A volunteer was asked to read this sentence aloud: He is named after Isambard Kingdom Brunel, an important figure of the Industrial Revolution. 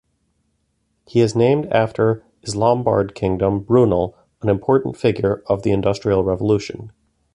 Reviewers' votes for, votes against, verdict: 1, 2, rejected